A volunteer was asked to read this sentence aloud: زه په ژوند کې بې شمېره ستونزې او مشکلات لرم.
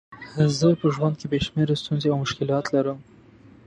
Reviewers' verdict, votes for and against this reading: accepted, 2, 0